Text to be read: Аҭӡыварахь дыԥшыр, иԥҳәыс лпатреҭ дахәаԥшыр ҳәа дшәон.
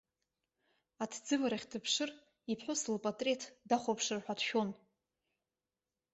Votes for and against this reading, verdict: 1, 2, rejected